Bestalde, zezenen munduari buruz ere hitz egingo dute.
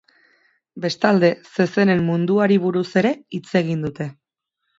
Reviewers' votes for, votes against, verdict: 2, 4, rejected